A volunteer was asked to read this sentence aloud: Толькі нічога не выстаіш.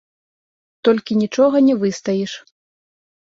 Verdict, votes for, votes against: accepted, 2, 0